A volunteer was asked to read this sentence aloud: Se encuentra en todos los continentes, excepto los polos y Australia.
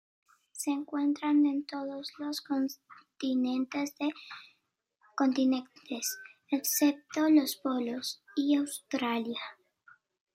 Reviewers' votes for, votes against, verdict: 0, 2, rejected